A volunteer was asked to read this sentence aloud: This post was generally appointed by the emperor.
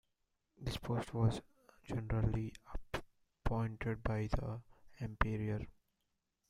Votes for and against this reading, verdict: 0, 2, rejected